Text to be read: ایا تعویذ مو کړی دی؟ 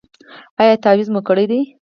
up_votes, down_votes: 0, 4